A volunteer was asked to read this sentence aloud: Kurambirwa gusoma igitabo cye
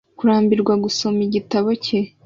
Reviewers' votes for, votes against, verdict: 2, 0, accepted